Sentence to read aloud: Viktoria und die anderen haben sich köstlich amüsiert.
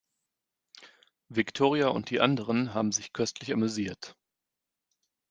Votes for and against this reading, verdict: 2, 0, accepted